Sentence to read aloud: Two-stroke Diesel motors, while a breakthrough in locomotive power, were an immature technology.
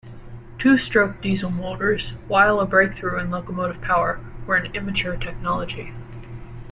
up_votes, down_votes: 2, 1